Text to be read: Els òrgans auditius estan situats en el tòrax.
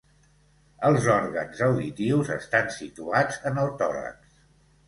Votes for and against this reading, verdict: 2, 0, accepted